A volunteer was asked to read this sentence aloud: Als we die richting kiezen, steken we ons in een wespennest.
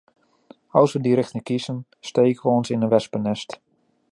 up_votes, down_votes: 2, 0